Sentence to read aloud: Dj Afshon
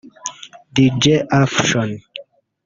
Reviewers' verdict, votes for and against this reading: rejected, 0, 2